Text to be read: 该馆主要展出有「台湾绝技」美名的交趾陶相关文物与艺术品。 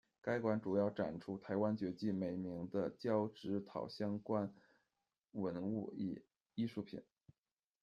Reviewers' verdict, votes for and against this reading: rejected, 1, 2